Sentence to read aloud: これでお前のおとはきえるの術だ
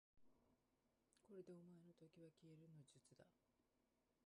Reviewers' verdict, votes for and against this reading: rejected, 0, 2